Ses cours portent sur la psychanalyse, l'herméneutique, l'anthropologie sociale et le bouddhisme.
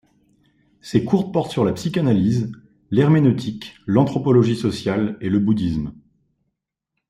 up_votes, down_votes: 2, 0